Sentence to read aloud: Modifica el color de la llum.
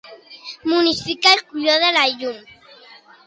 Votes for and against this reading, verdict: 0, 2, rejected